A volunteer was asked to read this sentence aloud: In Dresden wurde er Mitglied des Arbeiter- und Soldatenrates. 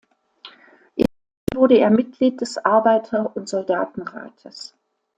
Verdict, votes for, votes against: rejected, 0, 2